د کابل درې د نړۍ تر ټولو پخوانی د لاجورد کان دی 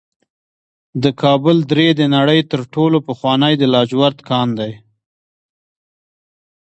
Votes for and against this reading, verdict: 2, 0, accepted